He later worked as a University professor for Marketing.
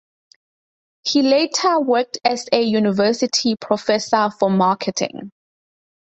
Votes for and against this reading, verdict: 4, 0, accepted